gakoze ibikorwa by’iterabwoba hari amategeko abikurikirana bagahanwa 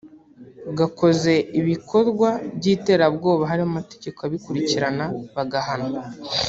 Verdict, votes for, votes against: rejected, 1, 2